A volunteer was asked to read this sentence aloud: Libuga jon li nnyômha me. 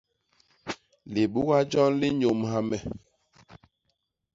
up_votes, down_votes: 0, 2